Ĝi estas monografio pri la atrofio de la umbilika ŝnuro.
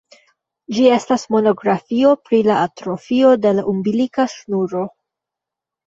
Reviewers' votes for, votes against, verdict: 0, 2, rejected